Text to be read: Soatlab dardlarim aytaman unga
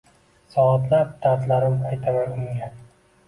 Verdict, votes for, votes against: accepted, 2, 1